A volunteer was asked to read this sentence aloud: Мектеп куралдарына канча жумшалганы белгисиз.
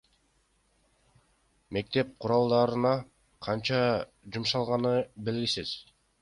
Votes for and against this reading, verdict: 2, 1, accepted